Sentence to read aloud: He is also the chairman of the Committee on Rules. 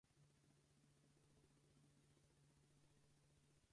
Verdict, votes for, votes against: rejected, 0, 4